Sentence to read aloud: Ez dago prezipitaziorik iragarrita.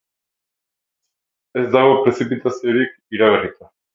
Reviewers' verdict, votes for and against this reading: accepted, 6, 0